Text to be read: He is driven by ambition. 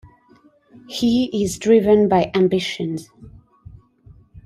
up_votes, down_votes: 2, 1